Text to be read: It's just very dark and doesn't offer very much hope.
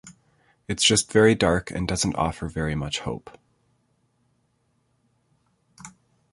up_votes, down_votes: 2, 0